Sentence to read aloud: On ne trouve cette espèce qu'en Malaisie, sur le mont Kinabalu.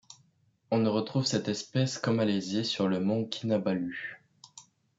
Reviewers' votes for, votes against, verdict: 1, 2, rejected